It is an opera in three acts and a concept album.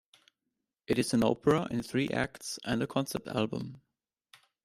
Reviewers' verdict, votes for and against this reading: accepted, 2, 0